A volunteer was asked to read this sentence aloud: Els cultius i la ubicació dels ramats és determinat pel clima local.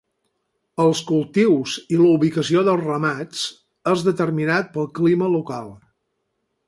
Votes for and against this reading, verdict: 12, 0, accepted